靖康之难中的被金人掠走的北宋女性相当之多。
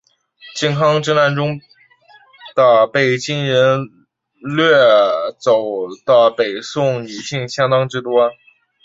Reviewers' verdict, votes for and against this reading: accepted, 2, 1